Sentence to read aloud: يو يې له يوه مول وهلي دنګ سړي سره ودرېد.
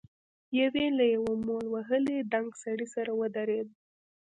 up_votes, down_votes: 1, 2